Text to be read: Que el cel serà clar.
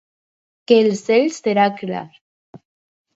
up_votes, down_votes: 4, 0